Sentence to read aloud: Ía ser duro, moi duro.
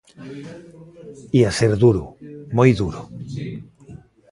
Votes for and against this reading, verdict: 1, 2, rejected